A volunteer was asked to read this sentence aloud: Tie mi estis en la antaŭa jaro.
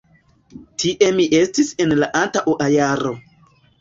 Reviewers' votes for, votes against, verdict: 1, 2, rejected